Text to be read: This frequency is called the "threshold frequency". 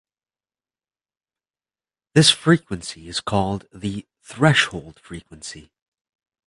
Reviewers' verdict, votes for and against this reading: accepted, 3, 0